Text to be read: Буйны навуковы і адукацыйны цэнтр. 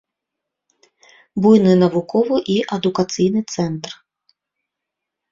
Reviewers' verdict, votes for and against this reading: accepted, 2, 1